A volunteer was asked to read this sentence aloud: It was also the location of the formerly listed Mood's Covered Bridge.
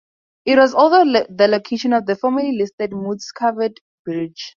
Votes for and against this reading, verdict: 2, 0, accepted